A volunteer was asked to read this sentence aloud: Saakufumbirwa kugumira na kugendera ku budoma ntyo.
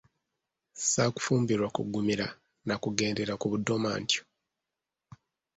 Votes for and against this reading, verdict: 2, 0, accepted